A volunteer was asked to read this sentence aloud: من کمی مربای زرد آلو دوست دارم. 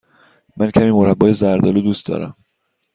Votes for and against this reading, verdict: 2, 0, accepted